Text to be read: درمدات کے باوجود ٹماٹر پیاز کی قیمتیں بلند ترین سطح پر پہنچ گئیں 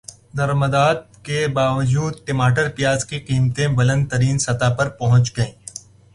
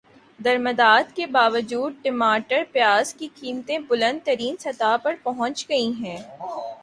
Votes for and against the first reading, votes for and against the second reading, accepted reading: 2, 0, 1, 2, first